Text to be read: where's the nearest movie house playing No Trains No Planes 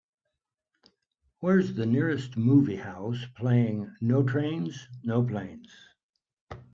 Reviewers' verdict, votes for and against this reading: accepted, 3, 1